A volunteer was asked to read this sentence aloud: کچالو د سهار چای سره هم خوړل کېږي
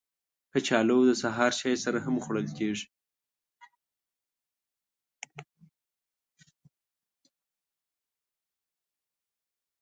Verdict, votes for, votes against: rejected, 1, 2